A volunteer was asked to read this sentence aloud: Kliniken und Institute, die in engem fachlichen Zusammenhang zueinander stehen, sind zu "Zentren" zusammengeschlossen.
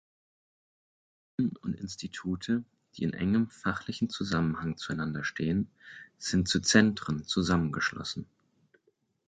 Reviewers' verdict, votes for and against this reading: rejected, 0, 4